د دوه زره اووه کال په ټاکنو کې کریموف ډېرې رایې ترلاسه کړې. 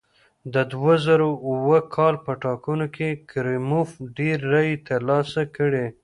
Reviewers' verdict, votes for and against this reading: rejected, 0, 2